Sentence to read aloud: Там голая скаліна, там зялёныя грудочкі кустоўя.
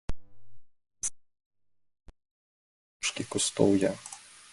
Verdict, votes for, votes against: rejected, 0, 2